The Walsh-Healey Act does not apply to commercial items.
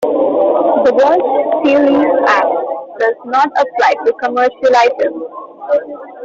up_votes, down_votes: 0, 2